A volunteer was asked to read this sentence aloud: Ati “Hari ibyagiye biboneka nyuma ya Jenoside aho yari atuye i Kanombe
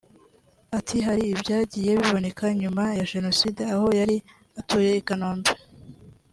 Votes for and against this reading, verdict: 2, 0, accepted